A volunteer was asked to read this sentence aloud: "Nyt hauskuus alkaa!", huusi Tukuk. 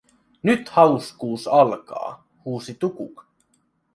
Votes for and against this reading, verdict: 0, 2, rejected